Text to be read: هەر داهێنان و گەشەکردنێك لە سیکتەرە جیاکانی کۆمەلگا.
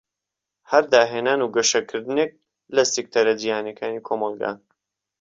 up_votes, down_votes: 1, 2